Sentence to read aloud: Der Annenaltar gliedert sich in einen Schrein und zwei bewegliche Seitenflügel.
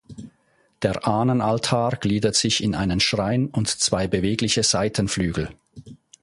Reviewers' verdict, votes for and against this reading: rejected, 1, 2